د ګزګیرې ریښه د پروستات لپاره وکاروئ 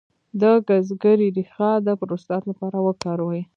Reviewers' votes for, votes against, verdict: 2, 1, accepted